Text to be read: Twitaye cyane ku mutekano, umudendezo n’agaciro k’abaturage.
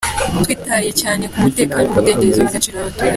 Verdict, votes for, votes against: accepted, 2, 0